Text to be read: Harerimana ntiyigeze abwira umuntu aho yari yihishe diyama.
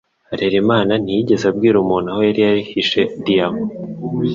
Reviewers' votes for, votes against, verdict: 3, 0, accepted